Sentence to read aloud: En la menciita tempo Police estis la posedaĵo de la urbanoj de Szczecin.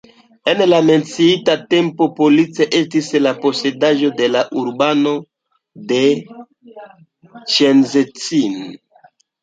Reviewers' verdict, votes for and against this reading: rejected, 0, 2